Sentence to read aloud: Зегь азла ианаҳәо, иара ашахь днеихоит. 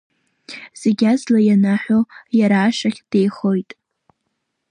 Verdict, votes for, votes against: rejected, 0, 2